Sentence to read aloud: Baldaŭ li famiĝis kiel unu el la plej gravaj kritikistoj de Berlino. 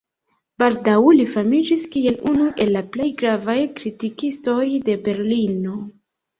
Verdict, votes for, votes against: accepted, 2, 0